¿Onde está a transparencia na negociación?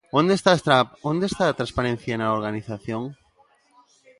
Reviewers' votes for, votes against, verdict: 1, 2, rejected